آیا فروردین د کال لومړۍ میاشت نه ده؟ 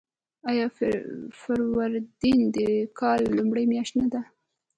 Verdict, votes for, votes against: accepted, 2, 0